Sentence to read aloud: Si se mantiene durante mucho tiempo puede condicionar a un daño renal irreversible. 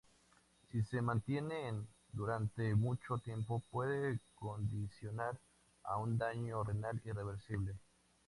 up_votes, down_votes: 2, 0